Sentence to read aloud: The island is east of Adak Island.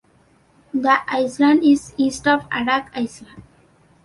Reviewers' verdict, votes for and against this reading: rejected, 1, 2